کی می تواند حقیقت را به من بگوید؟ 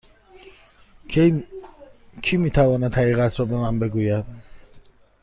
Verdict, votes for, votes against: accepted, 2, 0